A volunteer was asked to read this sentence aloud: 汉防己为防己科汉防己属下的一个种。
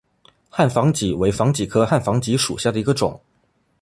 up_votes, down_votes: 2, 0